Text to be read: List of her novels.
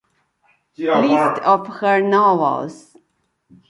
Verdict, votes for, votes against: accepted, 2, 1